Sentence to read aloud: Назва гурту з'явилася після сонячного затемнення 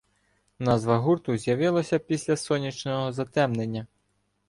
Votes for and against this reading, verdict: 2, 0, accepted